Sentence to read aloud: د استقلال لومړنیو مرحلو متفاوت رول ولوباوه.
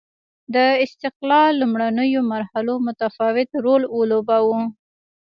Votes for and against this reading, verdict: 3, 1, accepted